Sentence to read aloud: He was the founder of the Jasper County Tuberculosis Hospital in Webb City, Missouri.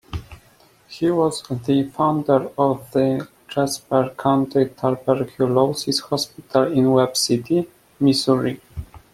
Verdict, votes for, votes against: rejected, 1, 2